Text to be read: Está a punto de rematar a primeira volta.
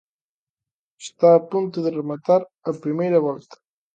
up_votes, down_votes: 2, 0